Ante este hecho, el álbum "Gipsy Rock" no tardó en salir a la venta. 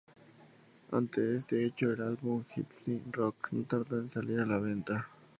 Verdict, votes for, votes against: accepted, 2, 0